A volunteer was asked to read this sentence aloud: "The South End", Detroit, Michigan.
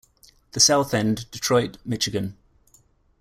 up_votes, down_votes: 0, 2